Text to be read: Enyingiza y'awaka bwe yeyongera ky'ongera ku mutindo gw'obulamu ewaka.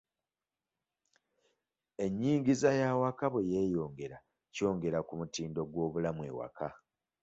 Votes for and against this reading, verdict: 2, 0, accepted